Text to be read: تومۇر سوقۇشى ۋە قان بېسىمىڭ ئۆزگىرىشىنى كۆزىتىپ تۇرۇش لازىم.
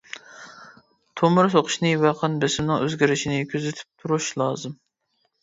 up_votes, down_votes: 1, 2